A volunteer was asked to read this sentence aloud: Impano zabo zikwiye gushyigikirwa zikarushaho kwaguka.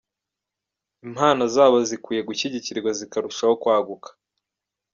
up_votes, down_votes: 1, 2